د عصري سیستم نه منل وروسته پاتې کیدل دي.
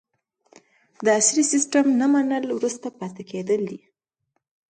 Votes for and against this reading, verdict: 2, 1, accepted